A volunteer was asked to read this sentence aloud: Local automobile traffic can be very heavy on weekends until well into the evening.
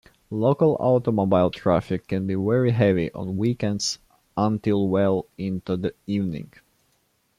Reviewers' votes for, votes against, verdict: 2, 0, accepted